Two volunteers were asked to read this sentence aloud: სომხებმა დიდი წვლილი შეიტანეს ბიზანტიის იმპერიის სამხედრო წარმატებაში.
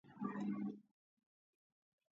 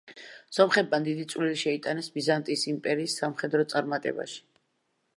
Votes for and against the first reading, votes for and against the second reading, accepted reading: 0, 2, 2, 0, second